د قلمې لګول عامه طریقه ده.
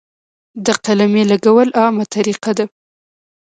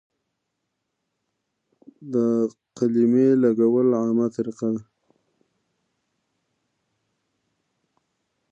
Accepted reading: first